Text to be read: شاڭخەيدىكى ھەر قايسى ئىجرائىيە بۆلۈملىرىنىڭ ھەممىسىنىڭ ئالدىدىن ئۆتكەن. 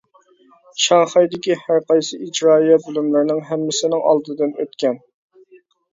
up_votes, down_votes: 2, 1